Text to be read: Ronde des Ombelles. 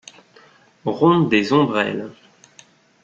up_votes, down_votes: 1, 2